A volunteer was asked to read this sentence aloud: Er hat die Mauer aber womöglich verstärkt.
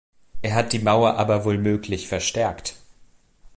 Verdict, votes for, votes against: rejected, 1, 2